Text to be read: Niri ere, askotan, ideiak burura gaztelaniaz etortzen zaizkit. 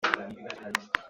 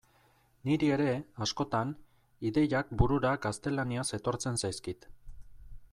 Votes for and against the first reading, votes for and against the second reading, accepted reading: 0, 2, 2, 0, second